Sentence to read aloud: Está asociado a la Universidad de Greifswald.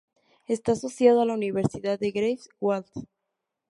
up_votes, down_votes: 2, 0